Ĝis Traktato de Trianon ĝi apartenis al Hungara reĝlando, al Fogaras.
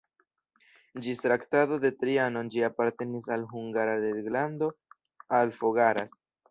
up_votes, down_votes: 2, 0